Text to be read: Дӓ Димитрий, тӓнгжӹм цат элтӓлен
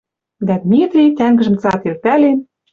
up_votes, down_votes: 1, 2